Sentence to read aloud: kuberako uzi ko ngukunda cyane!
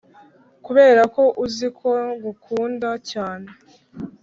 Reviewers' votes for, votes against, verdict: 6, 0, accepted